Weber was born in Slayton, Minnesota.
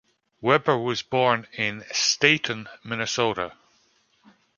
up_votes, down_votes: 0, 2